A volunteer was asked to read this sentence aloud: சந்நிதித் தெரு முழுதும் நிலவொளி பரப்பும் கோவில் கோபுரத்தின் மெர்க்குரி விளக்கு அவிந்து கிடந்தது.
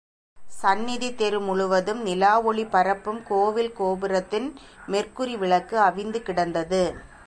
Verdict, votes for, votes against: rejected, 1, 2